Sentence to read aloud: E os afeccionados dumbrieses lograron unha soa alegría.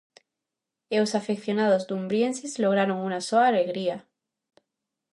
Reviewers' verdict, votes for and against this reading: accepted, 2, 0